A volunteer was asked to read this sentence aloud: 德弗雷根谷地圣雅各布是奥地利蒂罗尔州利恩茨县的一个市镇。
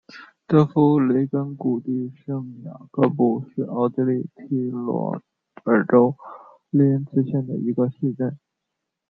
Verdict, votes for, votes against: rejected, 1, 2